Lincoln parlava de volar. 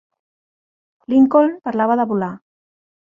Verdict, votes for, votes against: accepted, 2, 0